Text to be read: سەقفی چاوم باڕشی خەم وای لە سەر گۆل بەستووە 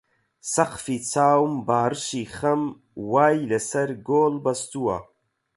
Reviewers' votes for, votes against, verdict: 4, 4, rejected